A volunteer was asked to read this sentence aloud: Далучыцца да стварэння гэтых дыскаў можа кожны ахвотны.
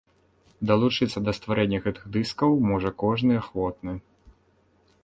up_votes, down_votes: 2, 0